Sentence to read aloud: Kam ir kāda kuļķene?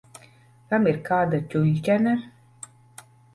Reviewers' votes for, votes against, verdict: 1, 2, rejected